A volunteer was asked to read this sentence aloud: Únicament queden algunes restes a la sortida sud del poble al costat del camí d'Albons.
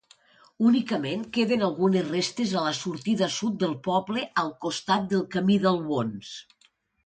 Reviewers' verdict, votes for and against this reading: accepted, 2, 0